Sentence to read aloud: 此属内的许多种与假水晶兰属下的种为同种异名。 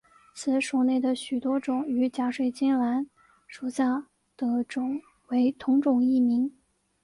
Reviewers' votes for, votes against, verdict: 2, 0, accepted